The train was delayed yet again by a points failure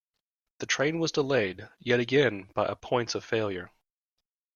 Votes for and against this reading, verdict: 0, 2, rejected